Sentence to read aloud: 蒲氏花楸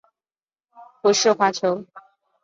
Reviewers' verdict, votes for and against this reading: accepted, 2, 0